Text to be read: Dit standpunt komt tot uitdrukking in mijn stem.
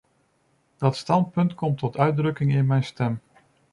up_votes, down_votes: 0, 2